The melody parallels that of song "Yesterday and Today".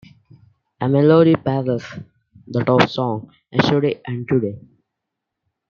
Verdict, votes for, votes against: rejected, 0, 2